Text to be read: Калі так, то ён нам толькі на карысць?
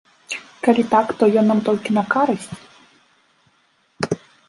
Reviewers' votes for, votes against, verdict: 1, 2, rejected